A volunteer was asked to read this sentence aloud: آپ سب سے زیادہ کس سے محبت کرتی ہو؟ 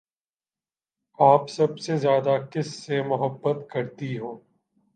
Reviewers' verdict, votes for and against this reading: accepted, 2, 0